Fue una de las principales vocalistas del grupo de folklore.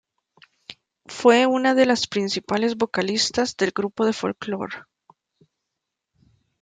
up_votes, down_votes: 1, 2